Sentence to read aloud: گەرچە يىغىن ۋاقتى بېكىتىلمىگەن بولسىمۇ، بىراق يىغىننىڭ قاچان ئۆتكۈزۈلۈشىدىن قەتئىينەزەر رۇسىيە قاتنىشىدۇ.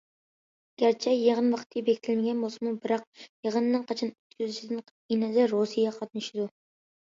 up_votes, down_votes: 2, 0